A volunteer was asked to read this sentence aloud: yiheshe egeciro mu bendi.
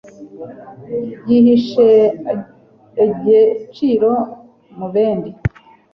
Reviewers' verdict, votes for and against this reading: rejected, 1, 2